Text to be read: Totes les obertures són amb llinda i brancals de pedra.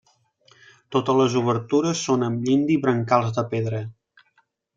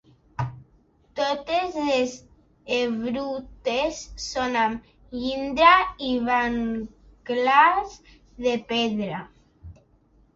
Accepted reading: first